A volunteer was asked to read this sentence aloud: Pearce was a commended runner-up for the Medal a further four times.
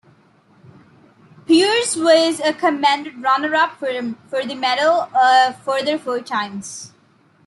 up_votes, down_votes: 1, 2